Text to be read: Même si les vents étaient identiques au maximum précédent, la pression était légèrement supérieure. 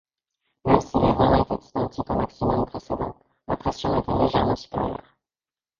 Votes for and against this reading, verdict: 0, 2, rejected